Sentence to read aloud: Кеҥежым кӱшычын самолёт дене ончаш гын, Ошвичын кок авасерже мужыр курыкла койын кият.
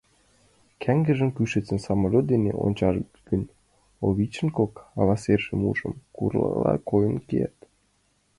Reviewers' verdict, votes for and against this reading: rejected, 1, 2